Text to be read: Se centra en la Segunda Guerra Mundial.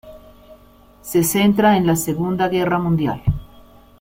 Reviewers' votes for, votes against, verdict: 1, 2, rejected